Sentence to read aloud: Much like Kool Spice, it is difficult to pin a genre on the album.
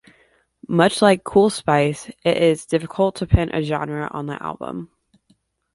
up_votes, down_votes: 2, 0